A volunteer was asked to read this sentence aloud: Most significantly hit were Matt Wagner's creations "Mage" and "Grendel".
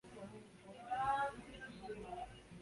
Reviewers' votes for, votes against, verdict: 0, 2, rejected